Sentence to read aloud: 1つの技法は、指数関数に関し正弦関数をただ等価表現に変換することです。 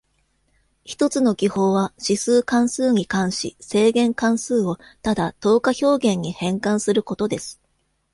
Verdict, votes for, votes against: rejected, 0, 2